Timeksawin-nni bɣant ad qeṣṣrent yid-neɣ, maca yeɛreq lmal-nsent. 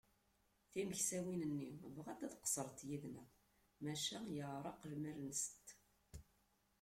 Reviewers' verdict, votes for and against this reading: rejected, 0, 2